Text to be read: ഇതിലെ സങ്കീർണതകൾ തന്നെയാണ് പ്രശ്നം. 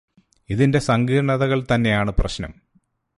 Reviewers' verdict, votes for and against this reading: rejected, 0, 2